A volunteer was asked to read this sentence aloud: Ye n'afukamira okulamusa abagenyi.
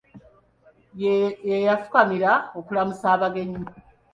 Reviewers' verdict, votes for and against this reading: rejected, 0, 2